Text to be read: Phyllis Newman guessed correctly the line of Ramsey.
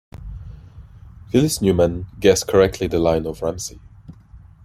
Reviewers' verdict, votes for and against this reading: accepted, 2, 0